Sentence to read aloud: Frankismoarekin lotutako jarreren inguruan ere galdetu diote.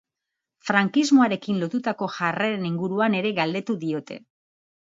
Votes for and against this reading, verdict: 2, 0, accepted